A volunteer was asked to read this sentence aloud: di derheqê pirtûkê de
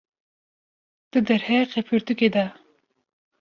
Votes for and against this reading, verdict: 2, 0, accepted